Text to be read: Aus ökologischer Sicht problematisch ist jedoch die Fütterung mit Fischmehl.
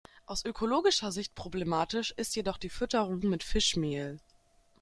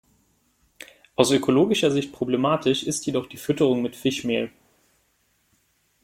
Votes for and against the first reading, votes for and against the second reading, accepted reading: 3, 0, 1, 2, first